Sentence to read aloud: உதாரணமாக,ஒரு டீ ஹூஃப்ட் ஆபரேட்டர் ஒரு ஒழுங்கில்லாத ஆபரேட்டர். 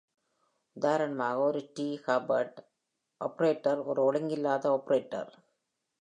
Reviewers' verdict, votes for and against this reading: accepted, 2, 0